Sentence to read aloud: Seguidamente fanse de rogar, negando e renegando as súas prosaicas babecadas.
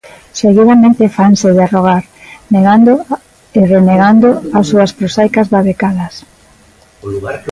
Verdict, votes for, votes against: accepted, 2, 0